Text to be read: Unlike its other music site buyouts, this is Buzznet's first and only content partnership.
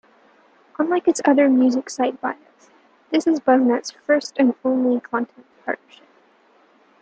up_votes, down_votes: 0, 2